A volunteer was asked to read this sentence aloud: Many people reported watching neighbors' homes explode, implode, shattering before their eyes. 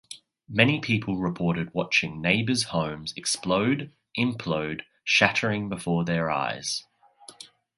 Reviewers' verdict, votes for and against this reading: accepted, 2, 0